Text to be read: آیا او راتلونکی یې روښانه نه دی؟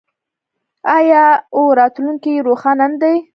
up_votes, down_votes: 3, 1